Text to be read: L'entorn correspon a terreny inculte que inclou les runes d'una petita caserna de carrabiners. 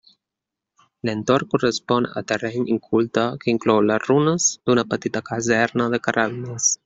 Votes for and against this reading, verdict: 2, 1, accepted